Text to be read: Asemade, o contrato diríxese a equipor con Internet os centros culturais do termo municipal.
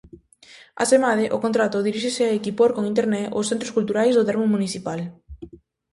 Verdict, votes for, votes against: accepted, 2, 0